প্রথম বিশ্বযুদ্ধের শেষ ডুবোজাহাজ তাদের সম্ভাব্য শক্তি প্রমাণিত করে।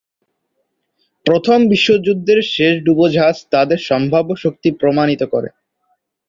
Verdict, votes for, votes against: accepted, 2, 0